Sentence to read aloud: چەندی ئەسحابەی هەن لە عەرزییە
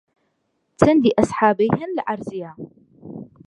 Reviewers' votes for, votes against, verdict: 1, 2, rejected